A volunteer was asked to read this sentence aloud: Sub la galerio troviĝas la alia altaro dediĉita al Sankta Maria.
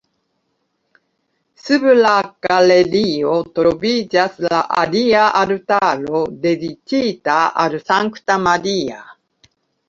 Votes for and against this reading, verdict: 2, 1, accepted